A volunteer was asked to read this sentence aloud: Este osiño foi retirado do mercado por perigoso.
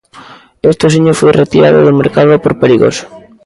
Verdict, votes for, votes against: accepted, 2, 0